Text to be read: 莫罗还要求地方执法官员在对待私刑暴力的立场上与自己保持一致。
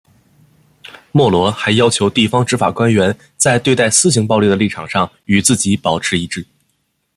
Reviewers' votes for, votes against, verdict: 2, 0, accepted